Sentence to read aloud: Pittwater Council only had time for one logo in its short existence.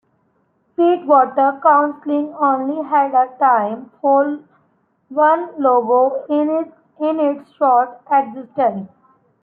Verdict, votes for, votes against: rejected, 0, 2